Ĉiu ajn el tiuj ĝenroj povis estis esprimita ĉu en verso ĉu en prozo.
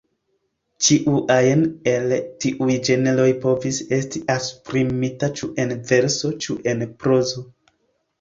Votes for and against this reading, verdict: 1, 2, rejected